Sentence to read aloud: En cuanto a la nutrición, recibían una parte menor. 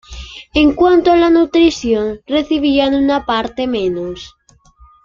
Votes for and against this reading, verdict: 2, 1, accepted